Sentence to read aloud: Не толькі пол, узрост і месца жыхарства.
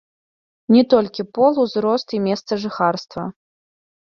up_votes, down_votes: 2, 1